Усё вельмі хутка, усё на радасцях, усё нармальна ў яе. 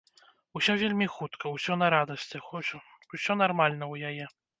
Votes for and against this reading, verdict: 0, 2, rejected